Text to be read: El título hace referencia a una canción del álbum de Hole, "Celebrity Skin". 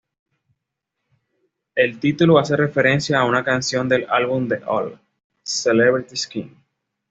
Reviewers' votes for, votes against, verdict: 2, 0, accepted